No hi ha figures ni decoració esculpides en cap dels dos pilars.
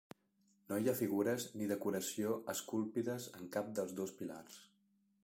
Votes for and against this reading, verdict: 0, 2, rejected